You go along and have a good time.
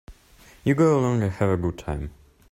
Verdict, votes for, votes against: accepted, 2, 0